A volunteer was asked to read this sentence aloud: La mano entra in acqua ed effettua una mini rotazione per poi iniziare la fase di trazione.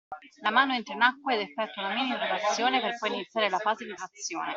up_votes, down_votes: 0, 2